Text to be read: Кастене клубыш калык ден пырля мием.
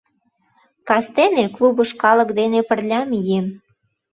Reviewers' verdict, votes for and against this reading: rejected, 0, 2